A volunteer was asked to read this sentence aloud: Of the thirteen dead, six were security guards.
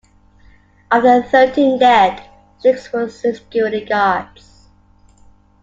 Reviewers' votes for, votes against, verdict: 2, 1, accepted